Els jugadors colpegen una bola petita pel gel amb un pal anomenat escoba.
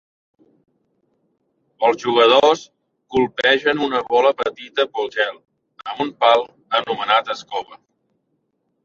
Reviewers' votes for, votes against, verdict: 3, 1, accepted